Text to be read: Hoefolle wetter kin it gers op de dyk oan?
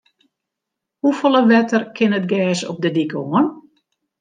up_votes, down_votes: 2, 0